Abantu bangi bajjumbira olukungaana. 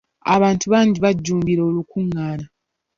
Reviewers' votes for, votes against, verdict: 2, 0, accepted